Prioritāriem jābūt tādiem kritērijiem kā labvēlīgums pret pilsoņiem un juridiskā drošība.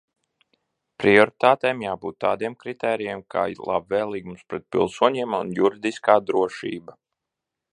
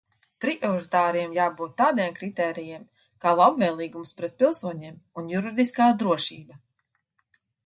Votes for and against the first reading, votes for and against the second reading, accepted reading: 0, 2, 2, 0, second